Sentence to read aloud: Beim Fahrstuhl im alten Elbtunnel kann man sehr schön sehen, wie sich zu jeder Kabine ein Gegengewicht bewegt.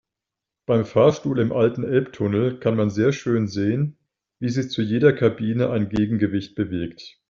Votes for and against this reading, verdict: 2, 0, accepted